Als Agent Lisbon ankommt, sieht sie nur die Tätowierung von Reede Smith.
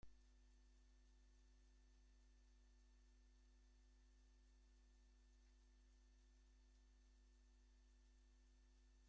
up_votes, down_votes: 0, 2